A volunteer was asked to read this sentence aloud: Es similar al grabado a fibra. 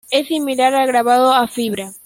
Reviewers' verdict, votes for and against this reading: accepted, 2, 1